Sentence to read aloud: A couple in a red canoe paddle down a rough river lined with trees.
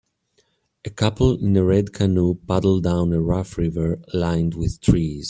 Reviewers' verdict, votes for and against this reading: accepted, 2, 0